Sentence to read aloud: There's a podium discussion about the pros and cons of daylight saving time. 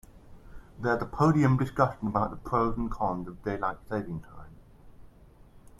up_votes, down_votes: 2, 0